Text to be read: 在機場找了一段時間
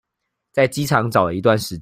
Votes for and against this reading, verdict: 1, 2, rejected